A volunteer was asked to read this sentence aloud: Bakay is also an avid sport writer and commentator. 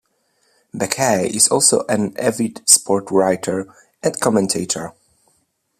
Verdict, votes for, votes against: accepted, 2, 0